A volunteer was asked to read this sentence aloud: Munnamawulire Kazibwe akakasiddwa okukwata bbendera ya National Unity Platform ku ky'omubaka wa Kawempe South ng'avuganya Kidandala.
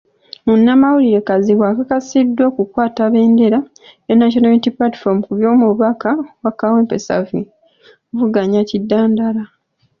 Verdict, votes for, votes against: accepted, 2, 1